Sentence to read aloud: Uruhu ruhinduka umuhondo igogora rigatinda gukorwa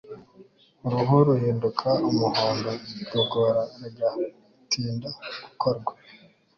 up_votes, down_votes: 3, 0